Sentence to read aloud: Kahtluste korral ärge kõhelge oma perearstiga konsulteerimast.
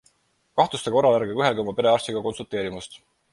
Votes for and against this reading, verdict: 4, 0, accepted